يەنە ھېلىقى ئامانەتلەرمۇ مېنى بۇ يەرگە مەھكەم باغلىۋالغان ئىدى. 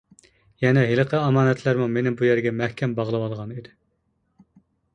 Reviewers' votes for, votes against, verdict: 2, 0, accepted